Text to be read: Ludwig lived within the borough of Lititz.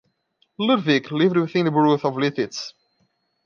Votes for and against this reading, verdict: 1, 2, rejected